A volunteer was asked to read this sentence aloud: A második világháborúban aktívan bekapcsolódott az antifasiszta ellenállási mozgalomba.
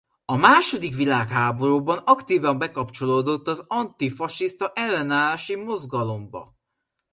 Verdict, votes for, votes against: accepted, 2, 0